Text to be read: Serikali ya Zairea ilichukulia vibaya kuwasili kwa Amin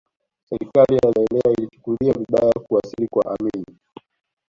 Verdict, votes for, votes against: rejected, 0, 2